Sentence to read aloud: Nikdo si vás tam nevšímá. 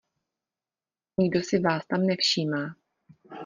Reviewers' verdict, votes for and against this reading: rejected, 1, 2